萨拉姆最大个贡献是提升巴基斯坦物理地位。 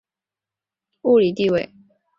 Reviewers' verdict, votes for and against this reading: rejected, 0, 2